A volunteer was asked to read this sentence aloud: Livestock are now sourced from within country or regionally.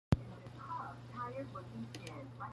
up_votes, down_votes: 0, 2